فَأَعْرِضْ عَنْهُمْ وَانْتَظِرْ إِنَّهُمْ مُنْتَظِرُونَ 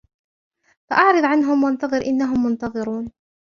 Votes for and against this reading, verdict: 1, 2, rejected